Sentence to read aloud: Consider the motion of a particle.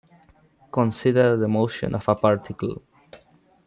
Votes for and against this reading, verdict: 2, 1, accepted